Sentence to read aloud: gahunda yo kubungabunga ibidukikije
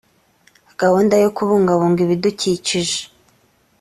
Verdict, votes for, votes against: accepted, 2, 0